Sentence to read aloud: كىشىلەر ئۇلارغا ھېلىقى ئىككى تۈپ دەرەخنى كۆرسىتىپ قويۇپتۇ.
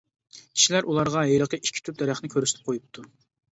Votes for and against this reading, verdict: 2, 0, accepted